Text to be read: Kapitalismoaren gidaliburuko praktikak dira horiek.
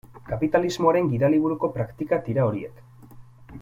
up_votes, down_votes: 3, 0